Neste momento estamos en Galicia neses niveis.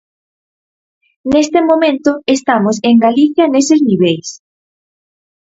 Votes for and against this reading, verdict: 4, 0, accepted